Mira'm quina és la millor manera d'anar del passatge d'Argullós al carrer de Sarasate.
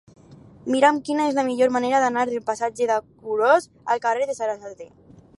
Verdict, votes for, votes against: accepted, 4, 2